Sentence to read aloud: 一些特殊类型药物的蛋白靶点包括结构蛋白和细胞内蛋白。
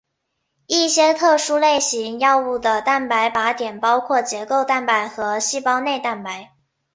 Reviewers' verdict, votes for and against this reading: accepted, 2, 1